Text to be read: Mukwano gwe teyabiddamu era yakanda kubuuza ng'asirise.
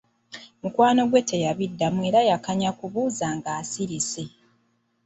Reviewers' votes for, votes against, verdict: 0, 2, rejected